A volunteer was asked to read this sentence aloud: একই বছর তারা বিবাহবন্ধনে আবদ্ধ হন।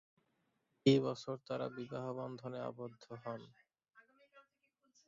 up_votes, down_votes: 0, 2